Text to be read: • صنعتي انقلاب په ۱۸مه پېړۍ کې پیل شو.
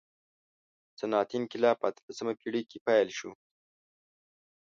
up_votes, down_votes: 0, 2